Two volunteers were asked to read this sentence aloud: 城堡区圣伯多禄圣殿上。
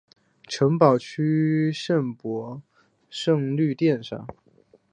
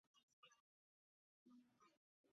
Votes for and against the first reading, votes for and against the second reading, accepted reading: 3, 1, 2, 5, first